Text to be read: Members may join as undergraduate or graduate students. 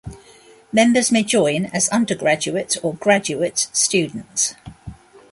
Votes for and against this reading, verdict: 1, 2, rejected